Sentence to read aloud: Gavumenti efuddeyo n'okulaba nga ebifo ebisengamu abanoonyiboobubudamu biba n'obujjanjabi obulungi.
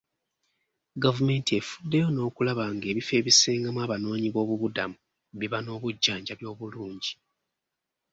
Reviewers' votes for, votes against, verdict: 2, 0, accepted